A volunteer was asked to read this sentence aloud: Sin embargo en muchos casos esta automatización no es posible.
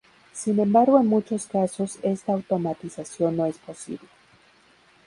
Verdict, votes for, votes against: accepted, 2, 0